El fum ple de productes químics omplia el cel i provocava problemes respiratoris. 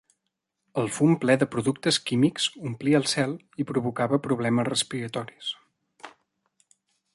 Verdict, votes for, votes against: accepted, 3, 0